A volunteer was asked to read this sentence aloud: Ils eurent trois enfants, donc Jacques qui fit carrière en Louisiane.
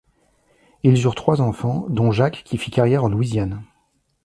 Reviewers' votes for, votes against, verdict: 1, 2, rejected